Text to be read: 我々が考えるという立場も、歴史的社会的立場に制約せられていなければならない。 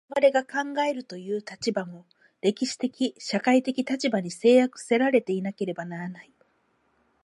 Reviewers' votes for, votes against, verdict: 0, 4, rejected